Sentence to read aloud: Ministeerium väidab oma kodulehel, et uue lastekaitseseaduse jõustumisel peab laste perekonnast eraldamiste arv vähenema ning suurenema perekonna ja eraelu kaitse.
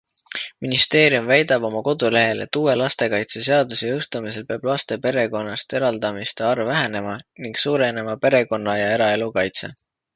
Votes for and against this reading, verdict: 2, 0, accepted